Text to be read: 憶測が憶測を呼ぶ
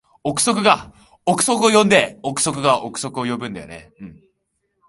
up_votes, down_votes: 0, 2